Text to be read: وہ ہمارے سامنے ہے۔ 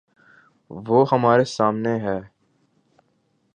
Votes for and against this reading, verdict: 8, 0, accepted